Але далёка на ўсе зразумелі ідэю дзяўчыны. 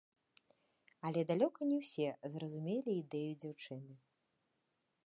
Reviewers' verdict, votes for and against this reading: accepted, 2, 1